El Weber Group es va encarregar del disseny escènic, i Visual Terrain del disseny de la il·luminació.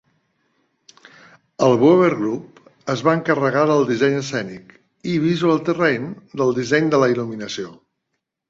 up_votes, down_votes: 3, 0